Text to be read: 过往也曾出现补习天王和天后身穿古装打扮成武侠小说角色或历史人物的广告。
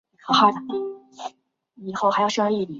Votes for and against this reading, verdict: 1, 3, rejected